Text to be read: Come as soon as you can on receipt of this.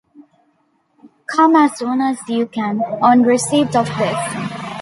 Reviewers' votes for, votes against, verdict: 2, 1, accepted